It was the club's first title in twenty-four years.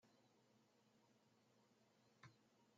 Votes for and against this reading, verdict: 0, 2, rejected